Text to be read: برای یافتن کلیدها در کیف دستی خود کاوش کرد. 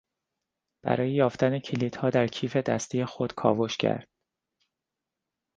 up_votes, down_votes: 2, 0